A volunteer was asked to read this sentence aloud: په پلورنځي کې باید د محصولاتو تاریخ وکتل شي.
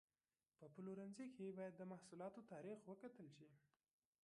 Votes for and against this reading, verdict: 1, 2, rejected